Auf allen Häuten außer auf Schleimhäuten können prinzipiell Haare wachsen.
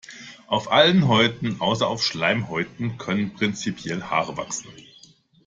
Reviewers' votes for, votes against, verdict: 2, 0, accepted